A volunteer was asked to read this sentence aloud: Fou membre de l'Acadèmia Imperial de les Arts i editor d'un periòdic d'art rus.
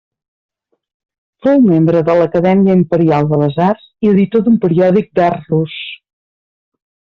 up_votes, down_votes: 0, 2